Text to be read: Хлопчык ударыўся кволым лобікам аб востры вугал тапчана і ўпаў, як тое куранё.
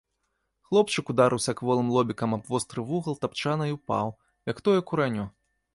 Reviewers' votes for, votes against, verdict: 0, 2, rejected